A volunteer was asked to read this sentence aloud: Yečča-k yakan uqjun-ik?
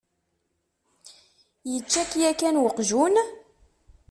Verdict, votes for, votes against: rejected, 1, 2